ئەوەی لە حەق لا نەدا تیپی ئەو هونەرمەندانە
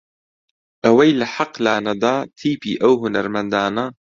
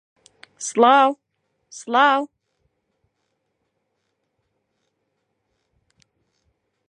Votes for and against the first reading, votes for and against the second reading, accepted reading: 2, 0, 0, 2, first